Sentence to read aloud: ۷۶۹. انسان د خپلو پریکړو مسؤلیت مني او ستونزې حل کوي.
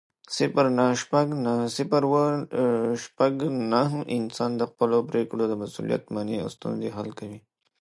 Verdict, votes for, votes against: rejected, 0, 2